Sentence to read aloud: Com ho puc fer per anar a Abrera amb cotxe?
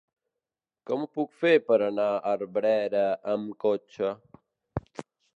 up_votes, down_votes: 1, 2